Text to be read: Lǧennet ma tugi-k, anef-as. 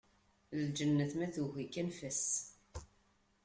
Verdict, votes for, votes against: accepted, 2, 0